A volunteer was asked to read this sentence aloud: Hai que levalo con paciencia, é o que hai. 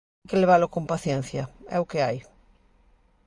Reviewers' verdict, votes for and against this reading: rejected, 0, 2